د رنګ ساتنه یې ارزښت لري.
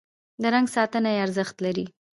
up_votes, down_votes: 1, 2